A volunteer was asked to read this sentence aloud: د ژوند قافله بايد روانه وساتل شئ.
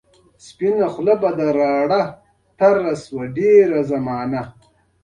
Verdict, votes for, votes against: rejected, 0, 2